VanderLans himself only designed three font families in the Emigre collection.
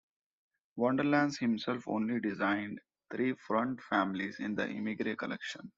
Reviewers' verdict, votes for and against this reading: rejected, 1, 2